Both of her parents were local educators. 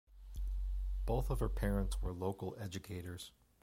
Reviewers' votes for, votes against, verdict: 2, 0, accepted